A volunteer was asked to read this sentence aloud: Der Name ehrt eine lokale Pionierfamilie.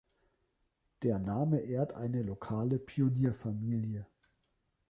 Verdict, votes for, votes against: accepted, 2, 0